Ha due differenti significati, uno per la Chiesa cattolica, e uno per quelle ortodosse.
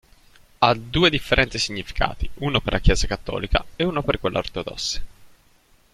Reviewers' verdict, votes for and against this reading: rejected, 0, 2